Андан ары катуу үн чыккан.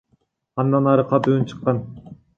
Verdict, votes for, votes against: accepted, 2, 0